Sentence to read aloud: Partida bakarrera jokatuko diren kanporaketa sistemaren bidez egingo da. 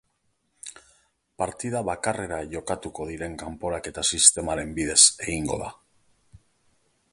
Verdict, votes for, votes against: accepted, 3, 0